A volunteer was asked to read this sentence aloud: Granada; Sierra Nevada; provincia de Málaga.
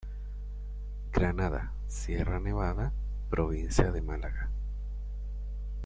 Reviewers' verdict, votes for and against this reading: accepted, 2, 0